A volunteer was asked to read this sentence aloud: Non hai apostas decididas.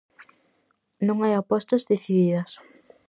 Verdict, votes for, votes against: accepted, 4, 0